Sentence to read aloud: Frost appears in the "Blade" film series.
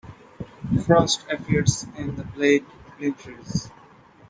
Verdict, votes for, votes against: rejected, 0, 2